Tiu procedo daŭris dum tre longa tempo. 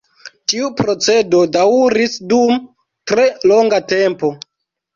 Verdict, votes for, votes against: rejected, 0, 2